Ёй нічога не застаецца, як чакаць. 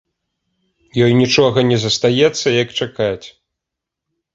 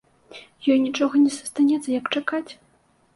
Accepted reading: first